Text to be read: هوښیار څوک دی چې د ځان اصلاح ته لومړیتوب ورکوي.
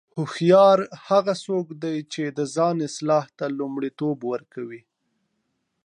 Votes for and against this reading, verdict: 2, 0, accepted